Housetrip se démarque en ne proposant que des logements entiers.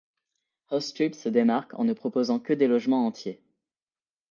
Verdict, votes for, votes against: accepted, 2, 0